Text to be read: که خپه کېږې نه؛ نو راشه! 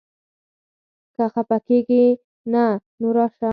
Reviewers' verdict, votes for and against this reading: accepted, 4, 0